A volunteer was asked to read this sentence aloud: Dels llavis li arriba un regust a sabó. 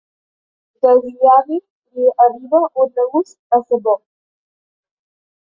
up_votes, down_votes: 1, 2